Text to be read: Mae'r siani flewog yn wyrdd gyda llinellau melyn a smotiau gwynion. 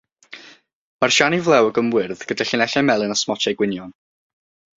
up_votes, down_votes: 3, 6